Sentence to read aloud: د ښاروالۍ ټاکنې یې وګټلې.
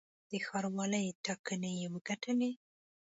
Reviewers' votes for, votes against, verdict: 2, 0, accepted